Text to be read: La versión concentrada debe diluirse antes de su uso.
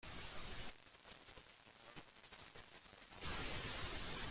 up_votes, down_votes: 0, 2